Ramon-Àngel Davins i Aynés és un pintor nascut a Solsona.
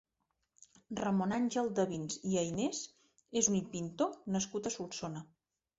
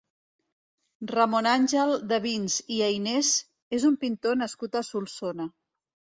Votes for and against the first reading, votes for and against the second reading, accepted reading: 4, 0, 0, 2, first